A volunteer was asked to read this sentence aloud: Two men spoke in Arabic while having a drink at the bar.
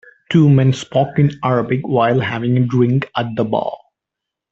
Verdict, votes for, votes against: accepted, 2, 0